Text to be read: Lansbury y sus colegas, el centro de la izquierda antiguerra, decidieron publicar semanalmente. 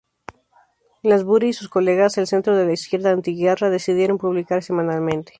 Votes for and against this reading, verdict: 0, 2, rejected